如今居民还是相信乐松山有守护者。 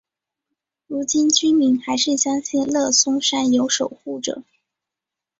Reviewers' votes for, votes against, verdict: 2, 0, accepted